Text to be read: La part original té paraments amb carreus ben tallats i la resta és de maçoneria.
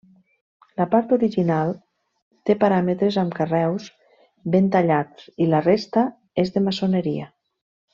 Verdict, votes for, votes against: rejected, 1, 2